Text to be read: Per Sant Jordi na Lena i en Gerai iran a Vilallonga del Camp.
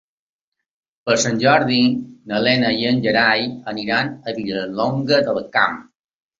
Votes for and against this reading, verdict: 3, 2, accepted